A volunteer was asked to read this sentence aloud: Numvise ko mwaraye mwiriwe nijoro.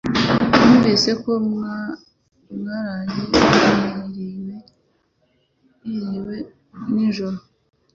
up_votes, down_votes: 1, 2